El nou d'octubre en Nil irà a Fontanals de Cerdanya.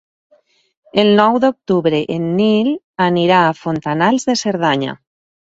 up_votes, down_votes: 4, 0